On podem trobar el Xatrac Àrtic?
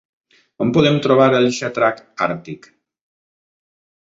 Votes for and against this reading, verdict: 2, 0, accepted